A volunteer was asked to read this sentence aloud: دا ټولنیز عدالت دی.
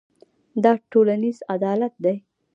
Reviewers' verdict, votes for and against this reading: rejected, 1, 2